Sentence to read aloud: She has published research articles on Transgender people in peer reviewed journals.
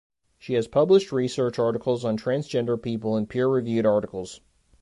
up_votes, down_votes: 0, 2